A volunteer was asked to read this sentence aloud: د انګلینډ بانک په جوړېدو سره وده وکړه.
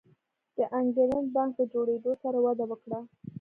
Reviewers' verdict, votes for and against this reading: rejected, 1, 2